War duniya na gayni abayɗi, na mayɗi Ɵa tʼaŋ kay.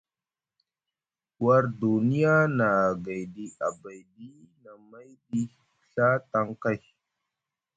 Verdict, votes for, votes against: rejected, 1, 2